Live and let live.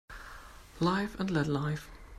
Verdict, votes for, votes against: rejected, 1, 2